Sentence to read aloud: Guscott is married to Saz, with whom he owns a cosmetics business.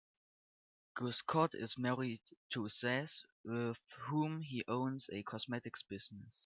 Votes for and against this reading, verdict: 1, 2, rejected